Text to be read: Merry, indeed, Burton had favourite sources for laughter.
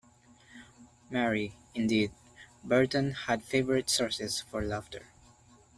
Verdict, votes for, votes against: accepted, 2, 0